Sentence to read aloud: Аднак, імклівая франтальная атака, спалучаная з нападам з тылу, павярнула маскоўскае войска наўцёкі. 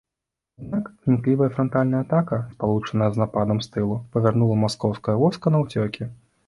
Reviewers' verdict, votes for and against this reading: rejected, 1, 2